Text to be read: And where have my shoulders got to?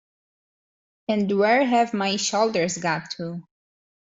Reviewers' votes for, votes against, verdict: 2, 1, accepted